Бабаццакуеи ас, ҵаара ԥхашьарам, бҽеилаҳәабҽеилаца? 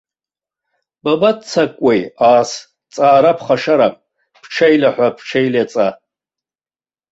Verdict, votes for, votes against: rejected, 0, 2